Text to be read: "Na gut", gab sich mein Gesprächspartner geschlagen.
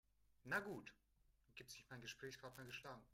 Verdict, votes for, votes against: accepted, 3, 2